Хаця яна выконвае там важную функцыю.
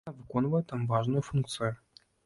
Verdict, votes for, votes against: rejected, 1, 2